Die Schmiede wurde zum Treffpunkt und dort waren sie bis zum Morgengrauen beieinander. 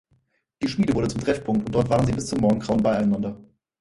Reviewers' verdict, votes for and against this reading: accepted, 4, 2